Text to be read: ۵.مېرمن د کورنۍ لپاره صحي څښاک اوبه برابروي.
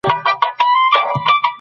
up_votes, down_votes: 0, 2